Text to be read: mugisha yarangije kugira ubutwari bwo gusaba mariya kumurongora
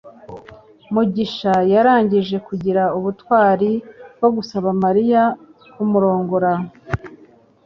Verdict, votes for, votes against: accepted, 3, 0